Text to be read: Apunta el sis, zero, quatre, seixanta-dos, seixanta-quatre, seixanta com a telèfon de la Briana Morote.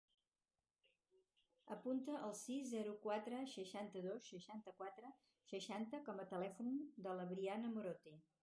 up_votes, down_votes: 2, 2